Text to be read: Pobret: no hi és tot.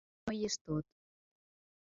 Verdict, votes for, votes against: rejected, 1, 2